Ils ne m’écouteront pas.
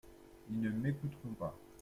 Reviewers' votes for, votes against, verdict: 2, 0, accepted